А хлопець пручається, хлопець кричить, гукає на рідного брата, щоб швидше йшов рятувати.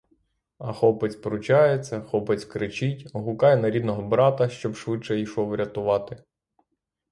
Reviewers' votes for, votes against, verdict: 6, 0, accepted